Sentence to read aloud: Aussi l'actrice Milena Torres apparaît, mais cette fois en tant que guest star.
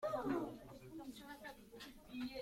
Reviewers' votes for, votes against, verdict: 0, 2, rejected